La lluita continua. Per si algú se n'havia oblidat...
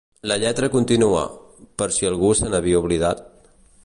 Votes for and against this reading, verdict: 1, 2, rejected